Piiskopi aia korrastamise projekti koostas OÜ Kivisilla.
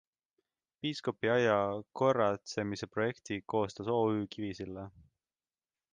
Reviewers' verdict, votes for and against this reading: rejected, 1, 2